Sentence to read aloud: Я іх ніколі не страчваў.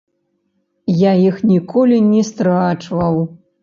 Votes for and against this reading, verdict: 0, 2, rejected